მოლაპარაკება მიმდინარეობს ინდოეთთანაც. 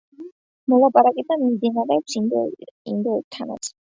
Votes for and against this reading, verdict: 1, 2, rejected